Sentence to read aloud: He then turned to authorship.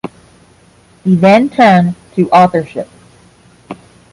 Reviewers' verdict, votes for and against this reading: accepted, 10, 0